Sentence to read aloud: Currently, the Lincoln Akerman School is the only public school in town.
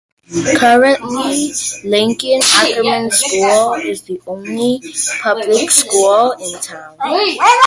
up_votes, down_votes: 0, 2